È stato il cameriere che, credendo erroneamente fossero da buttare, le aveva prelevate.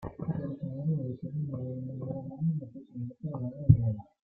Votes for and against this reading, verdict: 0, 2, rejected